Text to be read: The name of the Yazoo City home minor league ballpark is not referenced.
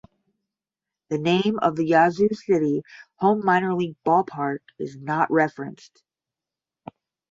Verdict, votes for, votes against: accepted, 10, 0